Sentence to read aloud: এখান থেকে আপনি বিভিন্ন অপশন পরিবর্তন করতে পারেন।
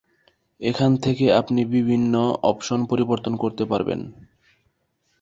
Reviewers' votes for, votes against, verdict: 4, 5, rejected